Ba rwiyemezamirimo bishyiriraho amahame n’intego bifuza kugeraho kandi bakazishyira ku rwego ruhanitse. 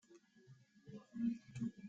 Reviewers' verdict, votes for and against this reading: rejected, 0, 2